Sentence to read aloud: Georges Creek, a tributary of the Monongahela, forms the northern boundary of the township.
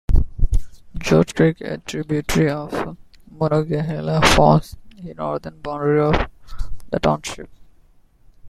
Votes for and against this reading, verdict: 2, 0, accepted